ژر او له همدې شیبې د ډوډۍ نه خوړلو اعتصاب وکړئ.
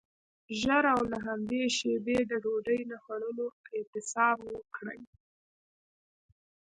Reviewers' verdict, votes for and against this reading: rejected, 2, 3